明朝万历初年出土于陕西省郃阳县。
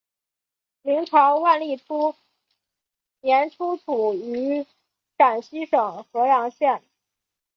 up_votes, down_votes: 2, 1